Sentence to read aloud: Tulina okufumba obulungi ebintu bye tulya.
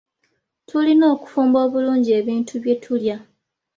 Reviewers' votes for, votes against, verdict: 2, 0, accepted